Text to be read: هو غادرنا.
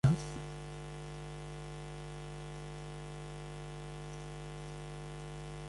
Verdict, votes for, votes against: rejected, 0, 2